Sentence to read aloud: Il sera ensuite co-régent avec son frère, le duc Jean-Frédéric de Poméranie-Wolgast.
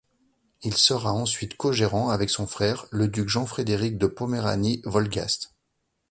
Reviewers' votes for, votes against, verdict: 1, 2, rejected